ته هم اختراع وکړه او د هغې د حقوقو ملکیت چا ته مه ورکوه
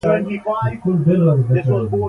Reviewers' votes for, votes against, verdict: 2, 0, accepted